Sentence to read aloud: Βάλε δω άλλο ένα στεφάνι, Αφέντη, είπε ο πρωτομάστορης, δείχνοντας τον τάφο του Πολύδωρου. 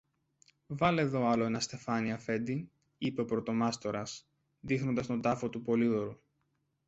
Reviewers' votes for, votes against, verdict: 0, 2, rejected